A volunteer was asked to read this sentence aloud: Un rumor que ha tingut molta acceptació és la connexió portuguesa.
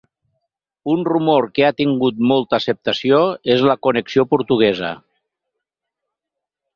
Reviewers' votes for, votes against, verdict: 6, 0, accepted